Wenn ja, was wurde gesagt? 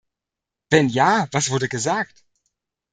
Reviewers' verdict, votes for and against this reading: accepted, 2, 0